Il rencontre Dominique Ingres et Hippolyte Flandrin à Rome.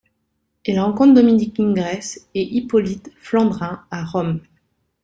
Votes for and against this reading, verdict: 2, 0, accepted